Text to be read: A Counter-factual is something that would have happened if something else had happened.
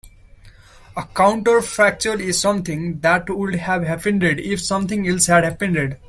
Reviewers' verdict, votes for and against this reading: rejected, 0, 2